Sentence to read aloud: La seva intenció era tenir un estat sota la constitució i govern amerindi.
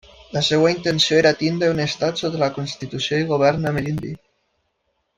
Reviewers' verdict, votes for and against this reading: accepted, 2, 1